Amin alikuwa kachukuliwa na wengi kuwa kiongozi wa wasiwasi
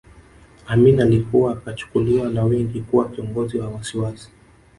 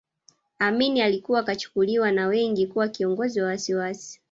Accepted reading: first